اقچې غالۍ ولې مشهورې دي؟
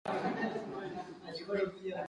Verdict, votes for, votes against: accepted, 2, 1